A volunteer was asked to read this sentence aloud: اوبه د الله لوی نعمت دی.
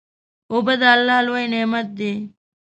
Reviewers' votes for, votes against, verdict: 2, 1, accepted